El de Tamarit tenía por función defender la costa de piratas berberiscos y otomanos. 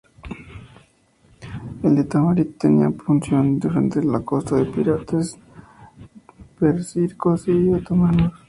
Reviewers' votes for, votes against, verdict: 0, 2, rejected